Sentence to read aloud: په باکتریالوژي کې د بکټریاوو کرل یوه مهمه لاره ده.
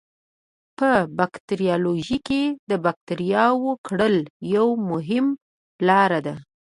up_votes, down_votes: 3, 0